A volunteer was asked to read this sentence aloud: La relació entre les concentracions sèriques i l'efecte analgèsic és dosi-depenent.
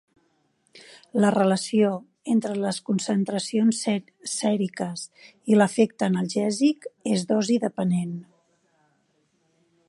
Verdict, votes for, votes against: rejected, 0, 2